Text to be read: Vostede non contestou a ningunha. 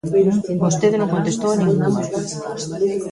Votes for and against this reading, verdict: 0, 2, rejected